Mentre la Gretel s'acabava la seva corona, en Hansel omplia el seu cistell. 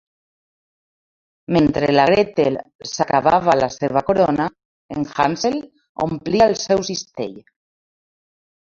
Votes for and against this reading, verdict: 2, 0, accepted